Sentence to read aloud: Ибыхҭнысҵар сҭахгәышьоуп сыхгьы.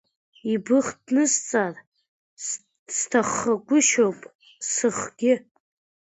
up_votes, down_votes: 0, 2